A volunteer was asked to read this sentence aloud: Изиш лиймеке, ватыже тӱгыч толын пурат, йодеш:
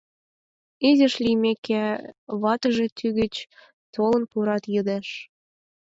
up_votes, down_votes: 4, 8